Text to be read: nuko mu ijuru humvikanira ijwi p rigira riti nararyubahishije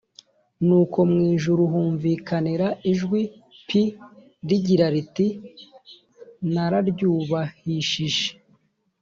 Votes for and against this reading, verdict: 2, 0, accepted